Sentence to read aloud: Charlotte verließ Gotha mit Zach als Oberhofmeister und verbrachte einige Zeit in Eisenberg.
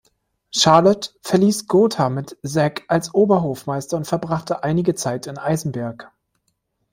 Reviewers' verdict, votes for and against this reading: rejected, 1, 2